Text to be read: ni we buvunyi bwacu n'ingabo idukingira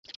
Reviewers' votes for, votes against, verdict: 1, 2, rejected